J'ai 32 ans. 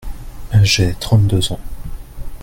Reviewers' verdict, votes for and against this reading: rejected, 0, 2